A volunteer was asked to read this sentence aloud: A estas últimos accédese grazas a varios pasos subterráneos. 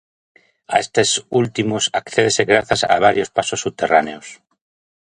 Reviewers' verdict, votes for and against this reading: rejected, 0, 2